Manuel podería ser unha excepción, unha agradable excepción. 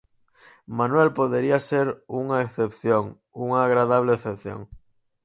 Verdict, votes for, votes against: accepted, 4, 0